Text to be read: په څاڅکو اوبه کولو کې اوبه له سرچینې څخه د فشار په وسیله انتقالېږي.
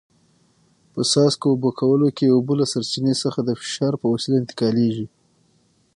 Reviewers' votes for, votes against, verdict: 0, 6, rejected